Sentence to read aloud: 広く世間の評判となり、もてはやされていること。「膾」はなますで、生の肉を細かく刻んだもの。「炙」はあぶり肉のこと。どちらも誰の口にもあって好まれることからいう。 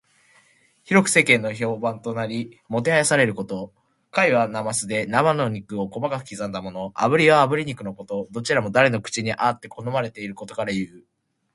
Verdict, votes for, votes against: accepted, 2, 0